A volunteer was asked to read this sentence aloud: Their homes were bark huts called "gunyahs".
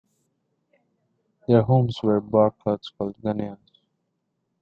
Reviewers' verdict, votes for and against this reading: rejected, 1, 2